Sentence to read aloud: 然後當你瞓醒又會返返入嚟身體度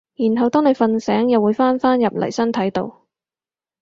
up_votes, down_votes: 4, 0